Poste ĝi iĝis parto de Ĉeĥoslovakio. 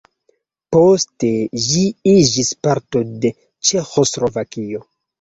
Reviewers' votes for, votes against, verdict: 2, 1, accepted